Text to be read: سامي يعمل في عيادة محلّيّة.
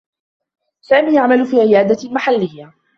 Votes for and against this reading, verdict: 2, 0, accepted